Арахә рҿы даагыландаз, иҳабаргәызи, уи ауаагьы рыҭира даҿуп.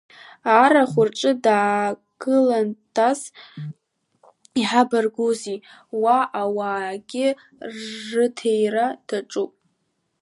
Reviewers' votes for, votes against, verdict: 0, 2, rejected